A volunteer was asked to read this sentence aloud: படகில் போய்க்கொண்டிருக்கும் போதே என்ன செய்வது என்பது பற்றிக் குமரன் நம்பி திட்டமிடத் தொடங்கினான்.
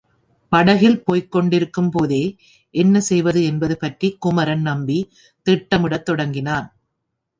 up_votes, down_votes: 2, 0